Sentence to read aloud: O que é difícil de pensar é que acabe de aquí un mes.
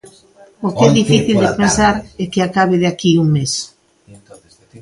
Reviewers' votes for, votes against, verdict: 0, 2, rejected